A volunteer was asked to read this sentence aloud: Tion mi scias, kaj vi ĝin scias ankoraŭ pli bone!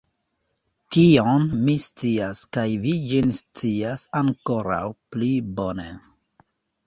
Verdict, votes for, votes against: rejected, 2, 3